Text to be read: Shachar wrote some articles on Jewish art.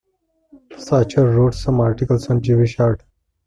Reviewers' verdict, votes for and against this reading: accepted, 2, 0